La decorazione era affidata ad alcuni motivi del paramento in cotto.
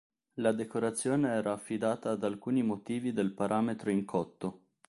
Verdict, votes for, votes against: rejected, 0, 2